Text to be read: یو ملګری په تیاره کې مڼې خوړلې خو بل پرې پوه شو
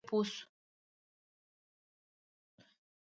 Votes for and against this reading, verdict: 0, 2, rejected